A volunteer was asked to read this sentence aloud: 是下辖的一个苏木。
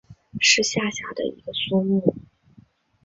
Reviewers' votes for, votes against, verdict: 2, 0, accepted